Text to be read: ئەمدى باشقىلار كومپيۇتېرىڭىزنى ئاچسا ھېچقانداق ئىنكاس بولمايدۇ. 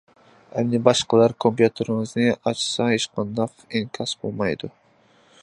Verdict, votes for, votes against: accepted, 2, 0